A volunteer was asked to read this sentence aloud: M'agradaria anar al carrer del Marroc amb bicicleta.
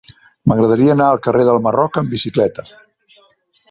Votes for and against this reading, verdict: 4, 0, accepted